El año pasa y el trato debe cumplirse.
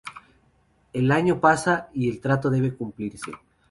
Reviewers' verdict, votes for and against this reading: accepted, 4, 0